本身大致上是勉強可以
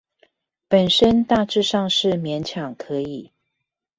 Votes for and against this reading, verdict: 2, 0, accepted